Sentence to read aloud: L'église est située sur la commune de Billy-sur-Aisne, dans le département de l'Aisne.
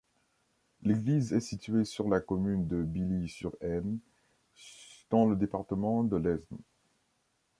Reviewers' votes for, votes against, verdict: 0, 2, rejected